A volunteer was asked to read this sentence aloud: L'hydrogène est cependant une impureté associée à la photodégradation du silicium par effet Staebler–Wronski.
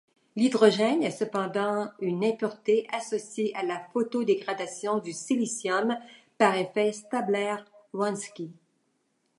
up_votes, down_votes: 2, 1